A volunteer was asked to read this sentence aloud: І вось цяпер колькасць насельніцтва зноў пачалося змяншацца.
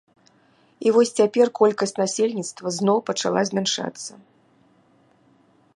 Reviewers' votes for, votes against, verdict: 0, 2, rejected